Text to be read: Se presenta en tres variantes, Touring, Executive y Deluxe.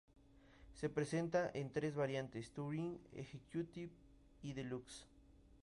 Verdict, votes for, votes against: accepted, 2, 0